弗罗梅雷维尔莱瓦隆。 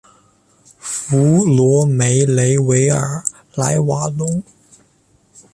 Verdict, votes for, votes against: accepted, 4, 0